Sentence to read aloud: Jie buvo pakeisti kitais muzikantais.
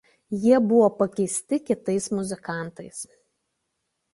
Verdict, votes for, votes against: accepted, 2, 0